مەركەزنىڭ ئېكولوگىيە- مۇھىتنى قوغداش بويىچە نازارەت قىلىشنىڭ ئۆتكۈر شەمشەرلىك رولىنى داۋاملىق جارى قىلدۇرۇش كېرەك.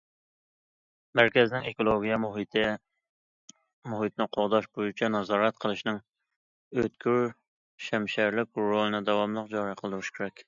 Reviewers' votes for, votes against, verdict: 0, 2, rejected